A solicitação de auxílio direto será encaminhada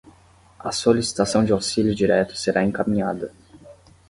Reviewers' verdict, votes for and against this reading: accepted, 10, 0